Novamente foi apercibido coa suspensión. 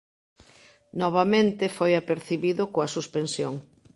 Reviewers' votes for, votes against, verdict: 2, 0, accepted